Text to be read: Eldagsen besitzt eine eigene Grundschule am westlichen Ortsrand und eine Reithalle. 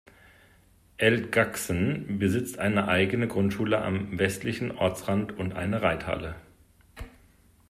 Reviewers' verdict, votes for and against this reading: rejected, 0, 2